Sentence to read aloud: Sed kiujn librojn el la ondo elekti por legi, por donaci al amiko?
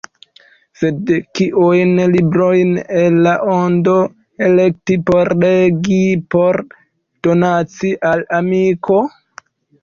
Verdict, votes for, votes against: rejected, 0, 2